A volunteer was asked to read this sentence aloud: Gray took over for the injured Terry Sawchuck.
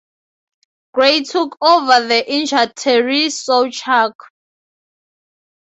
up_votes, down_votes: 0, 4